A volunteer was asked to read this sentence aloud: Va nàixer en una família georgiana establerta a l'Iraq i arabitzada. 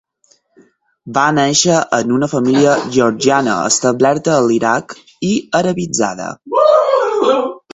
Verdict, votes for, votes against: rejected, 4, 6